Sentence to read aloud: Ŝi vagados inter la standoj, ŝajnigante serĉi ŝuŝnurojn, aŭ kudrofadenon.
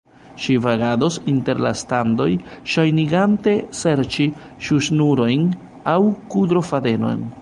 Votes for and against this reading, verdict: 2, 1, accepted